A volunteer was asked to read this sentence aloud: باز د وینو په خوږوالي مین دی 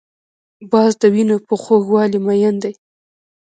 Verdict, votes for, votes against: rejected, 1, 2